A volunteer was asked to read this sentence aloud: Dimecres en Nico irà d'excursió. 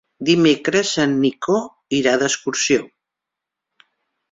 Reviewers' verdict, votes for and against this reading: accepted, 3, 0